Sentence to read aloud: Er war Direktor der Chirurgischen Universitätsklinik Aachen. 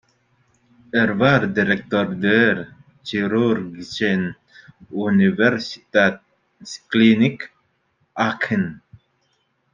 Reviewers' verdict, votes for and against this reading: rejected, 1, 2